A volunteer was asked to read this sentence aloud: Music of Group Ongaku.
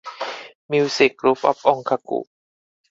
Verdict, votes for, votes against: rejected, 2, 4